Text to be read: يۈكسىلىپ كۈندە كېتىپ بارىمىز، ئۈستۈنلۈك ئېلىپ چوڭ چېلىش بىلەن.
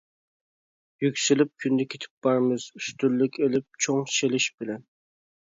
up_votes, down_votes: 2, 1